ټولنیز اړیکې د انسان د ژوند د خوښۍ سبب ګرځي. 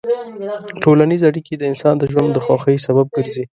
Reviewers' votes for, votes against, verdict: 1, 2, rejected